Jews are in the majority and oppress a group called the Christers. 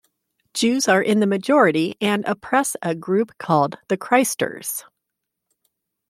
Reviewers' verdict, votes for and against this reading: accepted, 2, 0